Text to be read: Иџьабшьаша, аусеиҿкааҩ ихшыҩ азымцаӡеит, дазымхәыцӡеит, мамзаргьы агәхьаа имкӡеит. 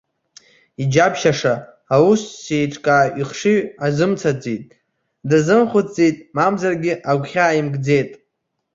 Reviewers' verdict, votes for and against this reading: rejected, 1, 2